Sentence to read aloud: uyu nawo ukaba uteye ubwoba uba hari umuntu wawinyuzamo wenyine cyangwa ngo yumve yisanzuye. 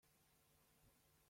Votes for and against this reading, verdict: 0, 2, rejected